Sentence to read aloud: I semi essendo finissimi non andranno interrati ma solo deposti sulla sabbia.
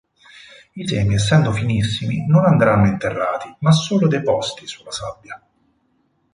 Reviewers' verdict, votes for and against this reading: accepted, 4, 0